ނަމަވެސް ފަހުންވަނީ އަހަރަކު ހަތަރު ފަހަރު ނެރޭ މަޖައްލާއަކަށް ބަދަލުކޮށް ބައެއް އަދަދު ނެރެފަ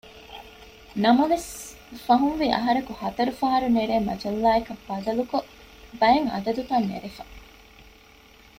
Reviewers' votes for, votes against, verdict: 1, 2, rejected